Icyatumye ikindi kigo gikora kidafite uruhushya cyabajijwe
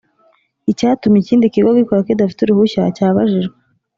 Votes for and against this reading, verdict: 4, 0, accepted